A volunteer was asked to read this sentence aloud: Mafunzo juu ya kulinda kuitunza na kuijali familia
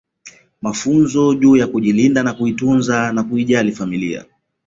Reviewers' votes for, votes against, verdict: 0, 2, rejected